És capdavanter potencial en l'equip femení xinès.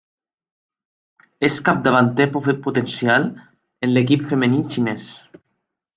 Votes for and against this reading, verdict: 0, 2, rejected